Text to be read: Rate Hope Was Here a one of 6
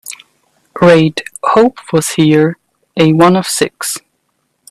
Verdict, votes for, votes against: rejected, 0, 2